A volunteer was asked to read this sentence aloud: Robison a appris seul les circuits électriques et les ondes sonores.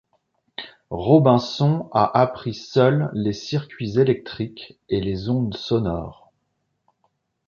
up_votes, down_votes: 2, 1